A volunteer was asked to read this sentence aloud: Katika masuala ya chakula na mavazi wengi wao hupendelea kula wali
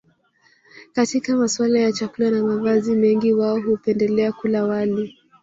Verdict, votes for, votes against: rejected, 0, 2